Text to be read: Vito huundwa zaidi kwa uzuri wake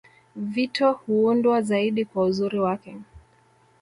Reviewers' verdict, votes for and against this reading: accepted, 2, 0